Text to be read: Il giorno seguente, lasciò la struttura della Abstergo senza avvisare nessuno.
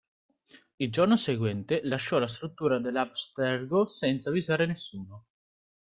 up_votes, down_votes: 2, 0